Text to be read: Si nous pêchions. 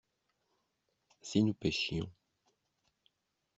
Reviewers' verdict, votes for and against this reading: accepted, 2, 0